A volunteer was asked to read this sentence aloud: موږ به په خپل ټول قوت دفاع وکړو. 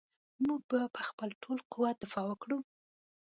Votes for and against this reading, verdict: 1, 2, rejected